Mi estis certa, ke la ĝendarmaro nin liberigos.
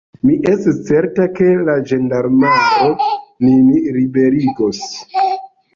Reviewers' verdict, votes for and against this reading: rejected, 1, 2